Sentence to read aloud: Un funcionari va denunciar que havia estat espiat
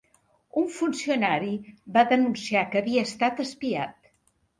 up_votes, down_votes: 3, 0